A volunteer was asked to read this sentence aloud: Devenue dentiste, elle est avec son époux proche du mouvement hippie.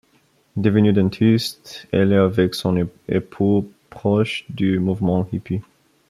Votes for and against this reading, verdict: 1, 2, rejected